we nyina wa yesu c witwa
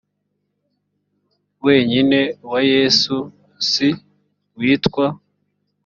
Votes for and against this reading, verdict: 0, 2, rejected